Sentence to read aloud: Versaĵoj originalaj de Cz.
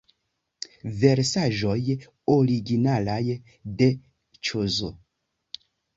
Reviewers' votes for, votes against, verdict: 1, 2, rejected